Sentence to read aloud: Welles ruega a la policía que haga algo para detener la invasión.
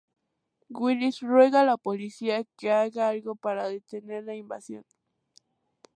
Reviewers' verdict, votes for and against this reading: accepted, 2, 0